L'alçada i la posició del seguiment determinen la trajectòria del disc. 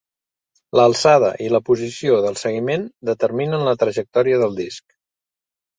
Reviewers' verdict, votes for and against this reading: accepted, 3, 0